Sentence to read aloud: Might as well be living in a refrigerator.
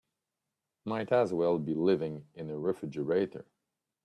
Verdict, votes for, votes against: accepted, 2, 0